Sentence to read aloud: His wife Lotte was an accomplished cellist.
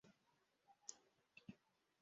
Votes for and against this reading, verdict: 0, 2, rejected